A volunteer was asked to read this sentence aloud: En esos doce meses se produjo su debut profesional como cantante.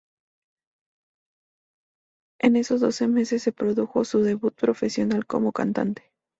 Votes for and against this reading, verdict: 2, 0, accepted